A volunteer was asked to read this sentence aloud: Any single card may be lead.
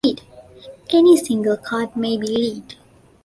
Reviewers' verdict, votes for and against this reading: rejected, 1, 2